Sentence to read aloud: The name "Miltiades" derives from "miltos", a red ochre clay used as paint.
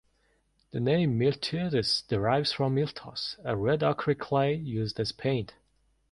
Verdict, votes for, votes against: accepted, 2, 1